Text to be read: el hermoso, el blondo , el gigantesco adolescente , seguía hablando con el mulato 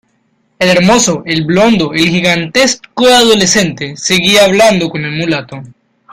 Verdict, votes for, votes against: accepted, 2, 0